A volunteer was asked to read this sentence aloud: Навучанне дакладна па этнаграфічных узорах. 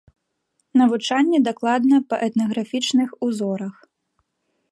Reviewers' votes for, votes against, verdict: 2, 1, accepted